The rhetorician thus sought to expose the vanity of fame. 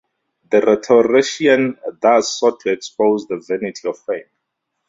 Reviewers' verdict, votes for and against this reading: rejected, 0, 2